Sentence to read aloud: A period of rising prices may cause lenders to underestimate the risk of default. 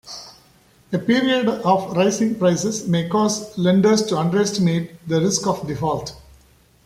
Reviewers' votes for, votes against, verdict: 2, 0, accepted